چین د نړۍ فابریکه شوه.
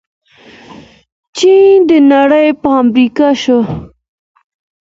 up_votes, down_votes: 2, 0